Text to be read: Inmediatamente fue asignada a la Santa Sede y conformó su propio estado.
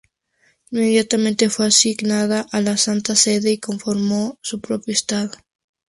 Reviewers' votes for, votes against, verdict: 2, 0, accepted